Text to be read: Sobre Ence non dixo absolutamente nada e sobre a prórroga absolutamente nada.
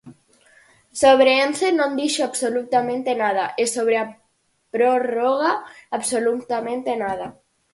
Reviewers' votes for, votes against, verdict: 4, 0, accepted